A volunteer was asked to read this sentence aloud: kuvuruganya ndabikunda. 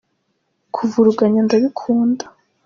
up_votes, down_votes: 2, 0